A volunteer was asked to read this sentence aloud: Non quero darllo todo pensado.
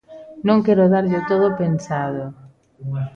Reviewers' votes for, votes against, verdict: 1, 2, rejected